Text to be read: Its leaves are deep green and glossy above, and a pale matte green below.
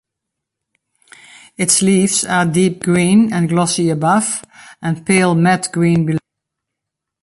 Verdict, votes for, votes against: rejected, 1, 2